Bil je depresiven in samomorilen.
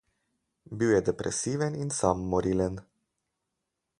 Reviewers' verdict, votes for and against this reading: accepted, 4, 0